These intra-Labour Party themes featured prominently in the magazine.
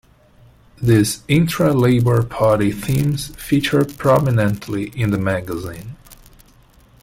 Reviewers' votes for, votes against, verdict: 2, 0, accepted